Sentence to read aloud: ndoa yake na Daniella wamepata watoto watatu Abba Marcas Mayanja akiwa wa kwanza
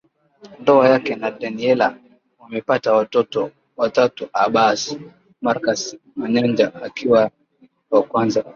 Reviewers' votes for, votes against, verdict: 2, 1, accepted